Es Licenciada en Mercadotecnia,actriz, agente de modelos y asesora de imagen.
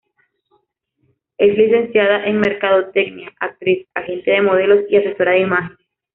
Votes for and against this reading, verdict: 1, 2, rejected